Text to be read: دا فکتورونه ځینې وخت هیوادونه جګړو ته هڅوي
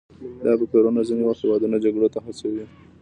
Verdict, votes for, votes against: accepted, 2, 0